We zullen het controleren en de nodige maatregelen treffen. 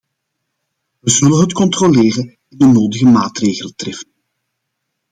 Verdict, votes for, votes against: accepted, 2, 1